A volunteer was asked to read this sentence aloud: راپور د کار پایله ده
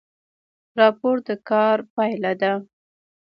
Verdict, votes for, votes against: accepted, 2, 0